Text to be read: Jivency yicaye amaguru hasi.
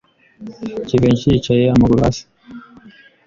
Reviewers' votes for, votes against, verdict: 2, 0, accepted